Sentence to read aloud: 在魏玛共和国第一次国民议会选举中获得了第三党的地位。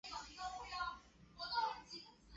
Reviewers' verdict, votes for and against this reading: rejected, 0, 4